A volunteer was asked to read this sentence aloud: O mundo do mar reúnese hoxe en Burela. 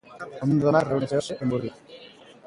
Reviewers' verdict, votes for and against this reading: rejected, 0, 2